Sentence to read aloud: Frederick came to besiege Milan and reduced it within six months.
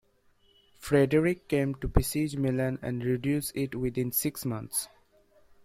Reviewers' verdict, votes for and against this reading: accepted, 2, 0